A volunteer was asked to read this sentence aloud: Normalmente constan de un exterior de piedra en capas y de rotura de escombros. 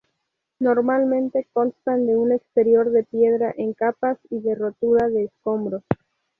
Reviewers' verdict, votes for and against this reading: accepted, 2, 0